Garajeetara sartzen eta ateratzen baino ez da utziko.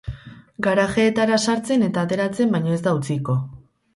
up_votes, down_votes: 0, 2